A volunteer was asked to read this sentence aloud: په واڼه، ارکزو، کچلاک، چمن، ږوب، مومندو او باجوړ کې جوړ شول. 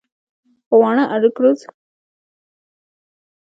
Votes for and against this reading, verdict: 1, 2, rejected